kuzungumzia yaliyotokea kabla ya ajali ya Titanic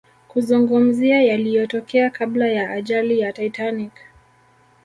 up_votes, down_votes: 2, 0